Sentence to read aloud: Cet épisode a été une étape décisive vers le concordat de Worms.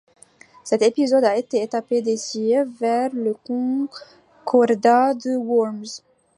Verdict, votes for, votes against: rejected, 1, 2